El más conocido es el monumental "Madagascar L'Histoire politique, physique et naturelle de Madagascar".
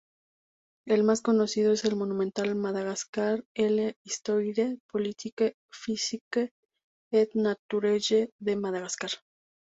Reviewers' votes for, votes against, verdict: 0, 2, rejected